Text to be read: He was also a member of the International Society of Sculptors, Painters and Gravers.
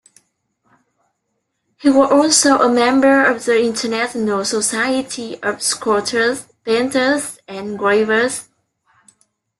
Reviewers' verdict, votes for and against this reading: rejected, 1, 2